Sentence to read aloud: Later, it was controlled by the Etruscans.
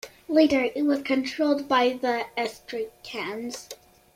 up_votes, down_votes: 1, 2